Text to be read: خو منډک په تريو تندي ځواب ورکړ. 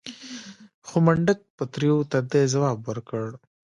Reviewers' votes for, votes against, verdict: 1, 2, rejected